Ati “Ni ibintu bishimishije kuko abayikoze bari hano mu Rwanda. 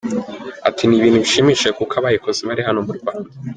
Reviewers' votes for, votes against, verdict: 2, 0, accepted